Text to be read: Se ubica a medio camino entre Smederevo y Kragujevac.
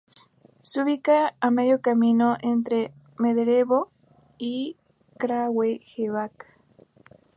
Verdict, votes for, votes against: rejected, 0, 2